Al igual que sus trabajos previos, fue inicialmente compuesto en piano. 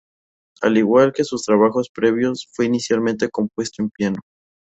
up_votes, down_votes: 2, 0